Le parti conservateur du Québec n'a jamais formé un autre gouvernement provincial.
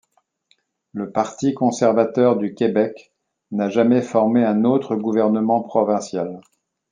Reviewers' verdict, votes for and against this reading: accepted, 2, 0